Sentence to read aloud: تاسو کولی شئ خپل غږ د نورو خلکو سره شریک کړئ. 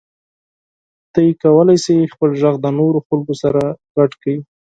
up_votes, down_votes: 4, 0